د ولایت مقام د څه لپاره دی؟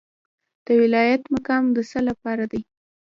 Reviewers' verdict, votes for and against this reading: rejected, 1, 2